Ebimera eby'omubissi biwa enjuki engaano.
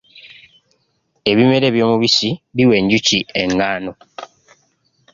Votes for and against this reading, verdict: 2, 0, accepted